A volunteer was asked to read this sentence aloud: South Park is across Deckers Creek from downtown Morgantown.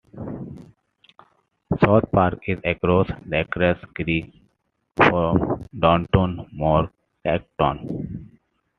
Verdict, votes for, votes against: rejected, 0, 2